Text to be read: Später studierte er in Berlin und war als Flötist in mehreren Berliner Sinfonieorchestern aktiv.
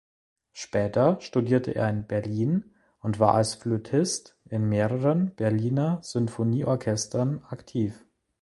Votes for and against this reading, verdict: 2, 0, accepted